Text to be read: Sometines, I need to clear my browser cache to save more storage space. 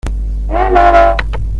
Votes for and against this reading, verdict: 0, 2, rejected